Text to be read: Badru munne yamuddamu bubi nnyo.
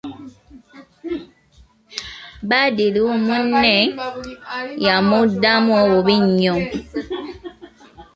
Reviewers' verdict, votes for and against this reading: rejected, 1, 2